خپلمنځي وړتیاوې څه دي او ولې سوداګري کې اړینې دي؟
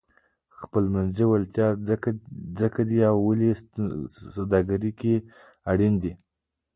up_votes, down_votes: 1, 2